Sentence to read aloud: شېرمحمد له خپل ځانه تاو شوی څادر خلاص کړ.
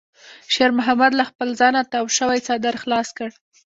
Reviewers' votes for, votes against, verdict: 1, 2, rejected